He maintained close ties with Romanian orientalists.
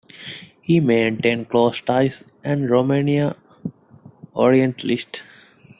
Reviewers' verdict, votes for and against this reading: rejected, 0, 2